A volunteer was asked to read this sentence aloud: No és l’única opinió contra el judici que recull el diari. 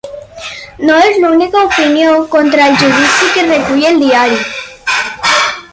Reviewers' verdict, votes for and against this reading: rejected, 2, 4